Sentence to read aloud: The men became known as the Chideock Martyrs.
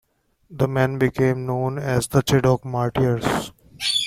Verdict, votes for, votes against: accepted, 2, 1